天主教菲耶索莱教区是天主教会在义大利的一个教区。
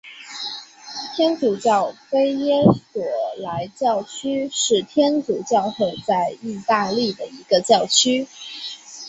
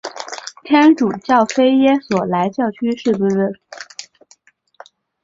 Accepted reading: first